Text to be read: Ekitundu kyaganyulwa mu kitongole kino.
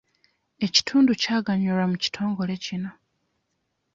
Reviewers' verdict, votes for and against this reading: accepted, 2, 0